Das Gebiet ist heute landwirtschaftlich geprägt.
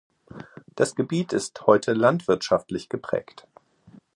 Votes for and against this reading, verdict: 2, 0, accepted